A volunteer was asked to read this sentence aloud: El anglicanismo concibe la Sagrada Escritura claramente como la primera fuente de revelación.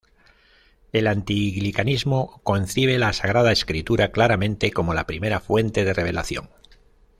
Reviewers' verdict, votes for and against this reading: rejected, 1, 2